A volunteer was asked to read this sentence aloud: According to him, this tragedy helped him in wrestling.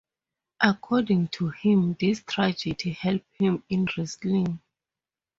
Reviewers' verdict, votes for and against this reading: accepted, 2, 0